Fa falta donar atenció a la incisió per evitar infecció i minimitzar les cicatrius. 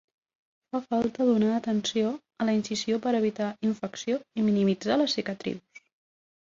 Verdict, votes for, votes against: rejected, 1, 3